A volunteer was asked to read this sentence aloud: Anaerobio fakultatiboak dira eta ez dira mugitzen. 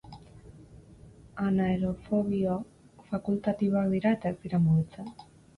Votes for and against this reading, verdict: 0, 4, rejected